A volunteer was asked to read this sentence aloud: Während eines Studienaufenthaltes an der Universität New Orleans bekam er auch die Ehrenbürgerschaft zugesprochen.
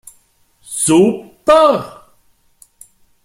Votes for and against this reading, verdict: 0, 2, rejected